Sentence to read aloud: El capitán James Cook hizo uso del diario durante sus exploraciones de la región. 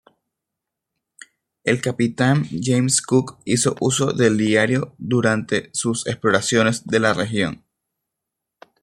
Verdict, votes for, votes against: accepted, 2, 0